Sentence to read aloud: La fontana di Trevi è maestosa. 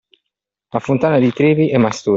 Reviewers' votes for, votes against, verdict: 1, 2, rejected